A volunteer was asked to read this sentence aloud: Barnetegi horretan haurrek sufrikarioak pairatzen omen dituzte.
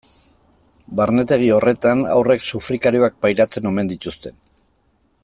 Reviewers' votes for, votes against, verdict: 2, 0, accepted